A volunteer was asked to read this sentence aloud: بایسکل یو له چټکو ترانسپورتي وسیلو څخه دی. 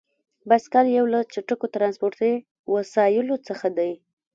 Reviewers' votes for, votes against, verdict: 0, 2, rejected